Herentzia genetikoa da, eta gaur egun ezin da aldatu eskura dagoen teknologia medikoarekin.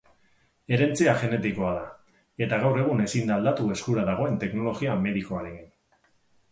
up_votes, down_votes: 2, 2